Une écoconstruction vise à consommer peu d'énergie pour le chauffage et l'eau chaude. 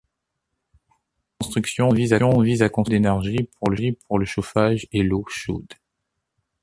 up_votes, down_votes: 0, 2